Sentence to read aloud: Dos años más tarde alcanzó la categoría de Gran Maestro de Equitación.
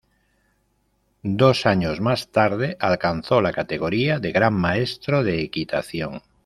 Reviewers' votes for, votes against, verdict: 2, 0, accepted